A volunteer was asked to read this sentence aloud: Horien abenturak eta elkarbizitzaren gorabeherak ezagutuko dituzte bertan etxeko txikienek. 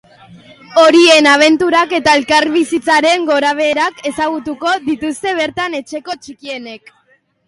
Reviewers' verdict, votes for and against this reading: accepted, 2, 0